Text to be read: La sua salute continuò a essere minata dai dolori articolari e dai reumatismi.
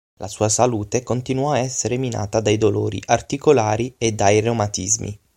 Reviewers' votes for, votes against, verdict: 6, 0, accepted